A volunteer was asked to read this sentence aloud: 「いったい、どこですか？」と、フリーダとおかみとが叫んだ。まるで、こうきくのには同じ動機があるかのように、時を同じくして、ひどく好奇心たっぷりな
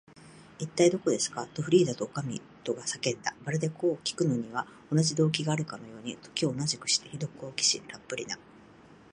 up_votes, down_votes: 2, 1